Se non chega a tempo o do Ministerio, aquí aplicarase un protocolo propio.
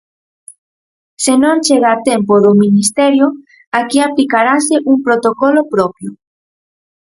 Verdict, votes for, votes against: accepted, 4, 0